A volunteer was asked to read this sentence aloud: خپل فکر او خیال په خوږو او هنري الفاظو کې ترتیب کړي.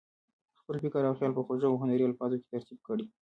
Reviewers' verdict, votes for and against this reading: rejected, 1, 2